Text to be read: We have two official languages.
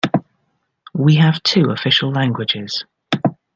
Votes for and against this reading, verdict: 2, 0, accepted